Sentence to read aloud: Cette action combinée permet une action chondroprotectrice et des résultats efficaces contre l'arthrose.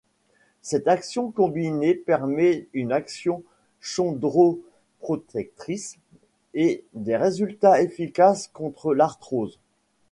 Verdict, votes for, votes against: rejected, 1, 2